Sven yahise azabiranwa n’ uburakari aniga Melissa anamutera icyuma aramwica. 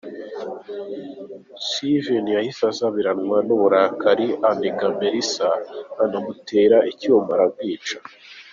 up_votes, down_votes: 0, 2